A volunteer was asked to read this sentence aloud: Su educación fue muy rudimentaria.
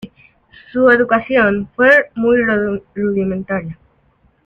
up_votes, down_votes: 0, 2